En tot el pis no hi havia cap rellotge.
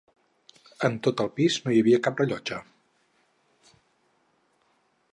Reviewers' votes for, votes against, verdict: 4, 0, accepted